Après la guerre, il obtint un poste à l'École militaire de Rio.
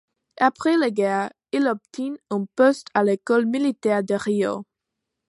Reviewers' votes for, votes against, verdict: 2, 0, accepted